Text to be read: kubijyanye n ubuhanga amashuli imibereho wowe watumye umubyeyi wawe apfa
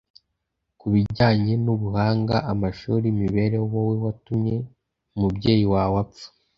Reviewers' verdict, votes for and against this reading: accepted, 2, 0